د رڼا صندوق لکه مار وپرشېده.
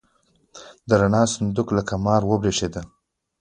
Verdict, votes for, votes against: accepted, 2, 1